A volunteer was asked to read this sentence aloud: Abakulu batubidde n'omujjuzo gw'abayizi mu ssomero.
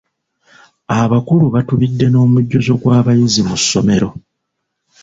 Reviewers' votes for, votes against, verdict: 2, 0, accepted